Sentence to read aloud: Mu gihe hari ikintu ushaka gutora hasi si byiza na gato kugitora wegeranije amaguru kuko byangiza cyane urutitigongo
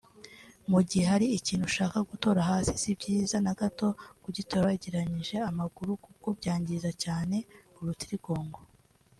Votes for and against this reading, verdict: 3, 0, accepted